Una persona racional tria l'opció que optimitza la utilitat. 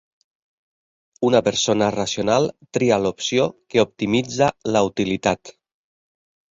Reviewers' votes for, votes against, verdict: 3, 0, accepted